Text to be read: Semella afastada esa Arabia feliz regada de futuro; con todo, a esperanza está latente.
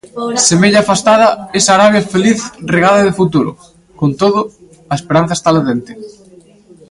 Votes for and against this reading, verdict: 2, 0, accepted